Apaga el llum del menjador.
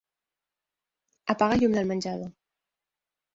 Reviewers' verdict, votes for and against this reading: accepted, 5, 0